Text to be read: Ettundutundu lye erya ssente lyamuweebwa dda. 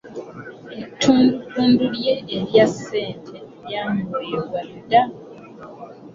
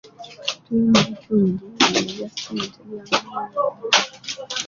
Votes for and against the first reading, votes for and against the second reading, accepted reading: 2, 1, 1, 2, first